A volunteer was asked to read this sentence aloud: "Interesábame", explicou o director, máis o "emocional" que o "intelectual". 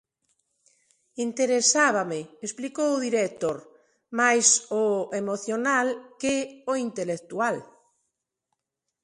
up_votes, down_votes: 2, 1